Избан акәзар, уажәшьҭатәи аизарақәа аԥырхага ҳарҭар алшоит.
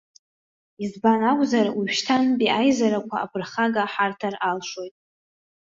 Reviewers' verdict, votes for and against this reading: rejected, 0, 2